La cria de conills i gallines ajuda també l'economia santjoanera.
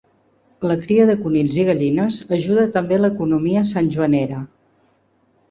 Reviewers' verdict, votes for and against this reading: accepted, 2, 0